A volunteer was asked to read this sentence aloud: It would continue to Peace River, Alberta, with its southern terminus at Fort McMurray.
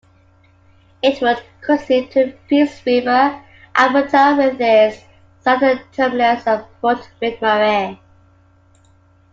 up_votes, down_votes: 1, 2